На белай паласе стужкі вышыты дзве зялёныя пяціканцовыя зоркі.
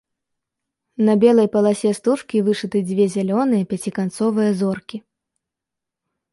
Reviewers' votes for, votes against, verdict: 2, 0, accepted